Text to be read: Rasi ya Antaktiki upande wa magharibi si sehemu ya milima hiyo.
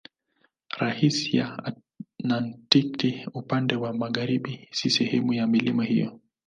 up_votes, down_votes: 3, 13